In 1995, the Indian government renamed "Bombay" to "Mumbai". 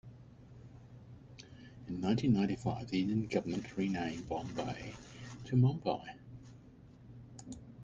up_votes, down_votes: 0, 2